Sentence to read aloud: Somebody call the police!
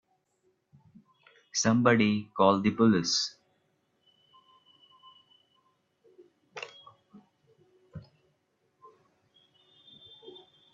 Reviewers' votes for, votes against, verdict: 1, 2, rejected